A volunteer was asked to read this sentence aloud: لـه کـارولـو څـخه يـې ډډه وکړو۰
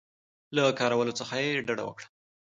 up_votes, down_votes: 0, 2